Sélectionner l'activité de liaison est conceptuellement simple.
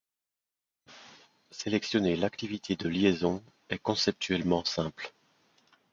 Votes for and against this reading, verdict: 2, 0, accepted